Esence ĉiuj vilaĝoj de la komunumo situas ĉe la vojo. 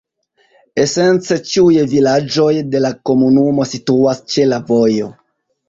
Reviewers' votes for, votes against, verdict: 2, 1, accepted